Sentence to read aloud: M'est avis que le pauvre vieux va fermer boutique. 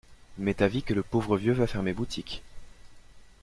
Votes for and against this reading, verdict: 2, 0, accepted